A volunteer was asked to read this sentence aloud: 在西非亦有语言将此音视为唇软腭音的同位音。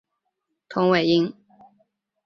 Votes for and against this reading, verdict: 1, 5, rejected